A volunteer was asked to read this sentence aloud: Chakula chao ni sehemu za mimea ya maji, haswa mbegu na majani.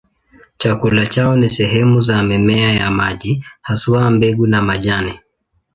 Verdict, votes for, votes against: accepted, 2, 0